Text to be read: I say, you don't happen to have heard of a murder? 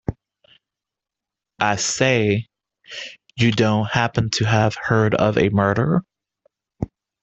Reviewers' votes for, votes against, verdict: 2, 0, accepted